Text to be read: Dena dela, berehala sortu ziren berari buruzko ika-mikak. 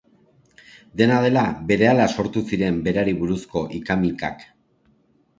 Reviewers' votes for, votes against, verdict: 2, 0, accepted